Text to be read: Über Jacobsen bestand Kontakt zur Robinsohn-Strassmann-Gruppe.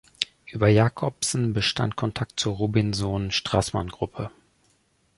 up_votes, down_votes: 2, 0